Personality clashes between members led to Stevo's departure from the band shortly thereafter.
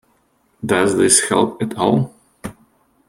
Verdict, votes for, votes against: rejected, 0, 2